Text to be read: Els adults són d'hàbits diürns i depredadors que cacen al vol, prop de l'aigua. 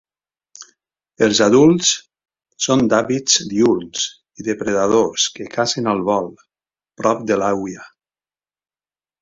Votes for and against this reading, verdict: 0, 2, rejected